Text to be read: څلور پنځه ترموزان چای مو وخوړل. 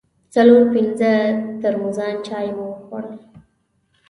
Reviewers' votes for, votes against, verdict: 2, 0, accepted